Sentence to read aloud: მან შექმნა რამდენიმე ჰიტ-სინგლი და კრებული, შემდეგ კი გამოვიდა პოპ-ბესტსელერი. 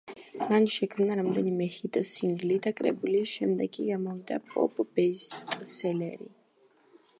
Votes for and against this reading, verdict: 1, 2, rejected